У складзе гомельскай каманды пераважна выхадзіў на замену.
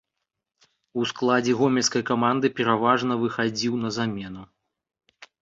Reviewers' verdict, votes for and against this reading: accepted, 2, 0